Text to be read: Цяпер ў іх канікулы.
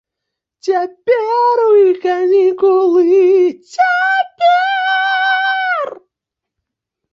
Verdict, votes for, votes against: rejected, 0, 2